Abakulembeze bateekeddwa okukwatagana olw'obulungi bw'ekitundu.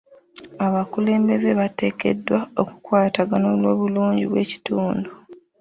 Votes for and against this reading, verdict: 2, 0, accepted